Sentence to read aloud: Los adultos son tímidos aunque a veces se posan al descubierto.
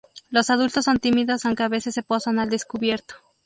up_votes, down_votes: 2, 2